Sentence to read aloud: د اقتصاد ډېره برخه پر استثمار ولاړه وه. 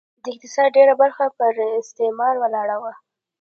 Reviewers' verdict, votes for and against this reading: accepted, 2, 1